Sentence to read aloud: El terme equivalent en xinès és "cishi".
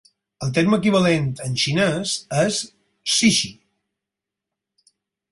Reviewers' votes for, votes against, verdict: 2, 4, rejected